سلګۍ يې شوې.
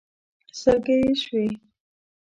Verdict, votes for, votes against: accepted, 2, 0